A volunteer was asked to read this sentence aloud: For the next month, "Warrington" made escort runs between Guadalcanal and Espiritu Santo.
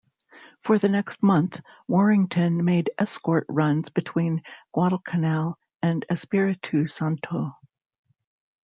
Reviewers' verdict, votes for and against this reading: accepted, 2, 0